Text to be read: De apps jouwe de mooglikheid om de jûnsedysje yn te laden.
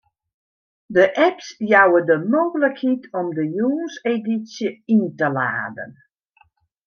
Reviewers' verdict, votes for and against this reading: rejected, 1, 2